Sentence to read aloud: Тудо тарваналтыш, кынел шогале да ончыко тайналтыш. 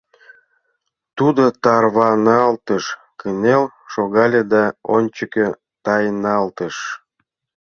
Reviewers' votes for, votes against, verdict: 0, 2, rejected